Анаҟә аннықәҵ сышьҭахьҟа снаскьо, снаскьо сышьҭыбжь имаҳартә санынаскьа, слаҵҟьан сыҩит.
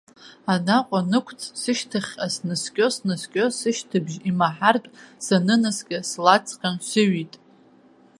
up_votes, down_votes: 1, 2